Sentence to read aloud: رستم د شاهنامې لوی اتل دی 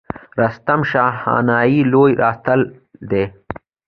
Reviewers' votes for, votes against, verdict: 2, 0, accepted